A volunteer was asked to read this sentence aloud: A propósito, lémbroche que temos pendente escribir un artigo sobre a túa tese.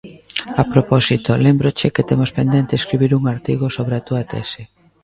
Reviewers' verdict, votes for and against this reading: rejected, 1, 2